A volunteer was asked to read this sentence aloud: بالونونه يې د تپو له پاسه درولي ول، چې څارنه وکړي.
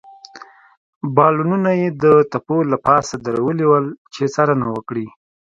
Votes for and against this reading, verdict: 2, 0, accepted